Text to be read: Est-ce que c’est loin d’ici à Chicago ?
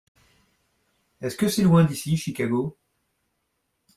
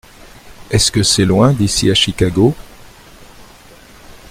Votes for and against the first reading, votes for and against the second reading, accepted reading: 0, 2, 2, 0, second